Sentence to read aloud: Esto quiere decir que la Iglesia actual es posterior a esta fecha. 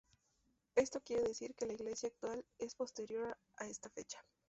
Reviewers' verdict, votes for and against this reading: rejected, 0, 2